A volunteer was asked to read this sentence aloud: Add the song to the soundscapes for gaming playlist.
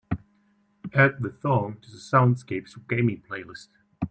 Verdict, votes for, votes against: accepted, 2, 0